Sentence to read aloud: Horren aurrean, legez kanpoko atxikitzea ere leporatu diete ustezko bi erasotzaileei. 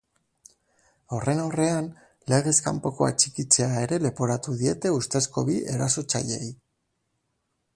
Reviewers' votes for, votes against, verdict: 3, 0, accepted